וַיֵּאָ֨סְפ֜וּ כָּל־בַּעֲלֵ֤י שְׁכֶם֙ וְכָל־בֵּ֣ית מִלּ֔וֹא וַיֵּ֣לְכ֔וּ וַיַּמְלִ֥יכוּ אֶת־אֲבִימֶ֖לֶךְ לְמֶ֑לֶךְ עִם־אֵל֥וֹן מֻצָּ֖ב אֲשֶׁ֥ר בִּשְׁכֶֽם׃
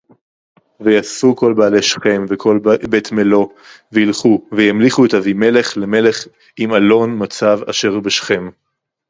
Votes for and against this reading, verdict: 0, 2, rejected